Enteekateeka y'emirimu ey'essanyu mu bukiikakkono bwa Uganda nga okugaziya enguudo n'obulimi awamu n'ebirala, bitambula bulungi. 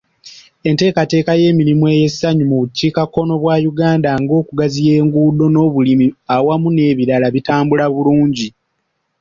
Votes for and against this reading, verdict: 2, 0, accepted